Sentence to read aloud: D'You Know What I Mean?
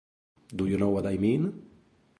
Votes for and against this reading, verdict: 1, 2, rejected